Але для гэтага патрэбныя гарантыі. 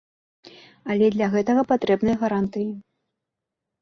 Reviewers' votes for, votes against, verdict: 2, 0, accepted